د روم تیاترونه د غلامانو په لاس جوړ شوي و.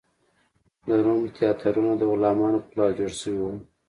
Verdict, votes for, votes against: accepted, 2, 0